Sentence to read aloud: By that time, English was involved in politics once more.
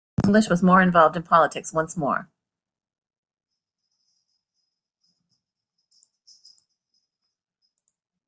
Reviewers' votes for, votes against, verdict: 0, 2, rejected